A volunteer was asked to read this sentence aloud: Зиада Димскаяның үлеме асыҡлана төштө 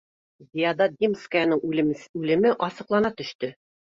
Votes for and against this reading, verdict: 2, 0, accepted